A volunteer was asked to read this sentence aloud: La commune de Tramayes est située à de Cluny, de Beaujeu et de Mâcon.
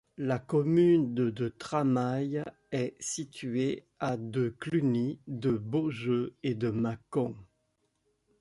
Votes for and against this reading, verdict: 1, 2, rejected